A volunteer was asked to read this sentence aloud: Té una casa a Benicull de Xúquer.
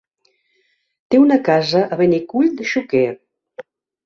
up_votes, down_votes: 5, 0